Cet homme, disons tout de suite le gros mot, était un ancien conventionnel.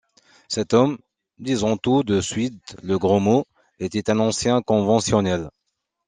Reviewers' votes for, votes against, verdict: 2, 0, accepted